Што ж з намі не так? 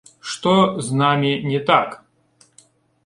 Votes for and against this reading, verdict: 1, 2, rejected